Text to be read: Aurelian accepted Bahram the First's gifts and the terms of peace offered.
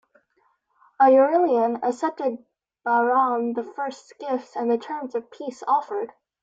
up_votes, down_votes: 2, 1